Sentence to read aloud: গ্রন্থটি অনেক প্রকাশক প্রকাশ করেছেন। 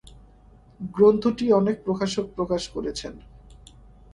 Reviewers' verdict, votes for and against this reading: accepted, 2, 1